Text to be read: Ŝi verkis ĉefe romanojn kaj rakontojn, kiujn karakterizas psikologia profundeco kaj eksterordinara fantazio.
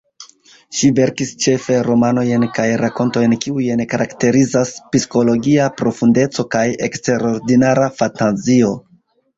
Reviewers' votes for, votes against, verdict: 0, 2, rejected